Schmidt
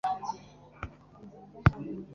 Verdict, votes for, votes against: rejected, 1, 2